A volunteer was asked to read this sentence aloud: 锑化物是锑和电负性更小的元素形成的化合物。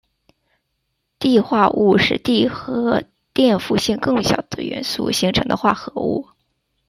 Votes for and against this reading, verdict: 0, 2, rejected